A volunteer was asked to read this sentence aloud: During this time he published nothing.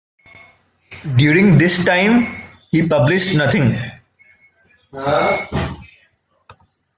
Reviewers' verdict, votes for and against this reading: rejected, 1, 2